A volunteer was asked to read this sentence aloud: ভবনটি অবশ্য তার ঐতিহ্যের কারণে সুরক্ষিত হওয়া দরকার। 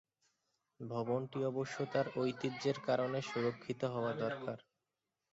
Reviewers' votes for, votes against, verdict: 2, 1, accepted